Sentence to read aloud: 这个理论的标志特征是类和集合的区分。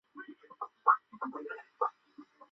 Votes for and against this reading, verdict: 3, 4, rejected